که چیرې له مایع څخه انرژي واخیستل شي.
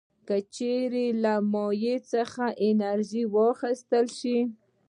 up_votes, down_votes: 2, 0